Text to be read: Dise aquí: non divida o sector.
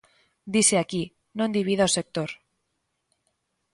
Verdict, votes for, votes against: accepted, 2, 0